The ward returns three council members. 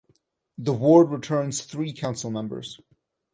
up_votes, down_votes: 4, 0